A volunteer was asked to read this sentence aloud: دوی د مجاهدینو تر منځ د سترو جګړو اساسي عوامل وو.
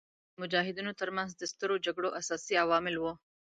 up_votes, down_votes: 1, 2